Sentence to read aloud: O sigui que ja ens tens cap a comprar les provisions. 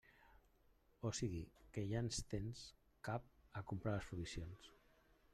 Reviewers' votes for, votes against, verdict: 1, 2, rejected